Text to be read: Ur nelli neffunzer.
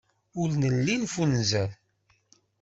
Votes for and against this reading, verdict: 2, 0, accepted